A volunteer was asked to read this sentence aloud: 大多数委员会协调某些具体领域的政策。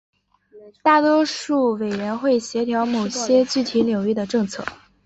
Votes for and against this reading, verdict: 4, 0, accepted